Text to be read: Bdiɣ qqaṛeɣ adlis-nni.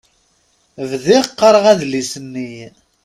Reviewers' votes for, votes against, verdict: 4, 0, accepted